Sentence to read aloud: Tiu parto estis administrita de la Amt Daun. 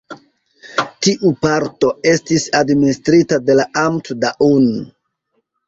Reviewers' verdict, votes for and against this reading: accepted, 2, 0